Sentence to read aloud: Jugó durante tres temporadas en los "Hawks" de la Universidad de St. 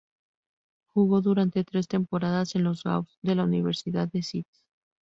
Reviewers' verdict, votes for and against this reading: rejected, 0, 2